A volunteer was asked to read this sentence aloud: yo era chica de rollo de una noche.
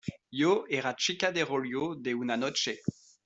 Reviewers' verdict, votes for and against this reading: rejected, 1, 2